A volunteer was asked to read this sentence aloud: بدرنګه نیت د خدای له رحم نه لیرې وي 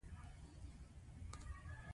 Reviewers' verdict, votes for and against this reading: accepted, 2, 0